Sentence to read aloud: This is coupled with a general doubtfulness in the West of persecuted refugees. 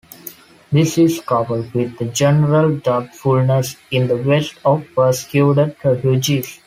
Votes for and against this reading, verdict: 2, 1, accepted